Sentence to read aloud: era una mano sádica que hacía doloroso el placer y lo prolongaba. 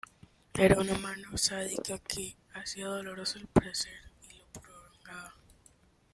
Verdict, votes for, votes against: rejected, 1, 2